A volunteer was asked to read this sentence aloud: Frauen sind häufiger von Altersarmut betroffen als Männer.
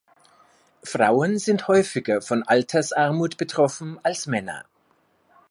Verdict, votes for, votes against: accepted, 2, 0